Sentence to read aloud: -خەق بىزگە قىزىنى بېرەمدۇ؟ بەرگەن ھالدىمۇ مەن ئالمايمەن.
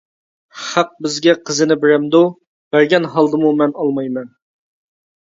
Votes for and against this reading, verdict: 2, 0, accepted